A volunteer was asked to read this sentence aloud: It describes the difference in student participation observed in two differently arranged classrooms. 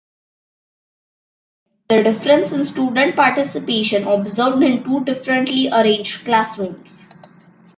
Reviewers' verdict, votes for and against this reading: rejected, 0, 2